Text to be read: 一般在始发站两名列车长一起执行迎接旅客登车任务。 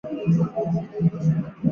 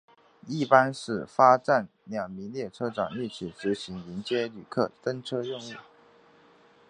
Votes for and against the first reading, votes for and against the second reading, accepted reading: 0, 3, 2, 0, second